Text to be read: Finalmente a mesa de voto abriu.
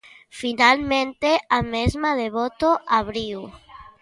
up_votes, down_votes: 0, 3